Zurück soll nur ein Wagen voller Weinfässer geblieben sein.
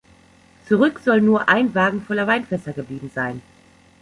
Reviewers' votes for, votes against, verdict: 2, 0, accepted